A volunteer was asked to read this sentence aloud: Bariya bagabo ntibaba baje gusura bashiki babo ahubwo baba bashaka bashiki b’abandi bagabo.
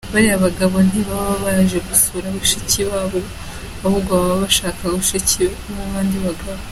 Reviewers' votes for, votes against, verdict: 2, 0, accepted